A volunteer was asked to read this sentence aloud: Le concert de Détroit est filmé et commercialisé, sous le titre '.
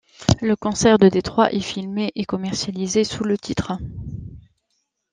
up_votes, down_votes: 2, 0